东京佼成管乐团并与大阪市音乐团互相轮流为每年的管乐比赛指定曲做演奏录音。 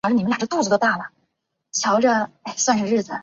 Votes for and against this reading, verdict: 0, 2, rejected